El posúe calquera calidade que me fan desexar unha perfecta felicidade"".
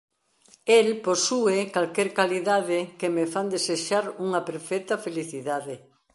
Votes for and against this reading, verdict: 1, 2, rejected